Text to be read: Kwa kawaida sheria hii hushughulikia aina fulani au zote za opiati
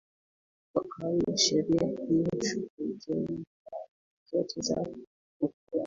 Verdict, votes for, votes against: rejected, 4, 16